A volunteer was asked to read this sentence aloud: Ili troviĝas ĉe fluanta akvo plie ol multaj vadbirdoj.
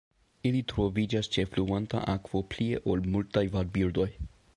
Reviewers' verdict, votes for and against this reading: accepted, 2, 1